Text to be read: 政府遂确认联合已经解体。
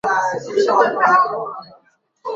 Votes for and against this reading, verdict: 2, 5, rejected